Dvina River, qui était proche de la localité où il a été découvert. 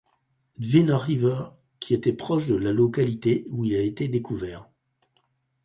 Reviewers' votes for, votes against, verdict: 0, 4, rejected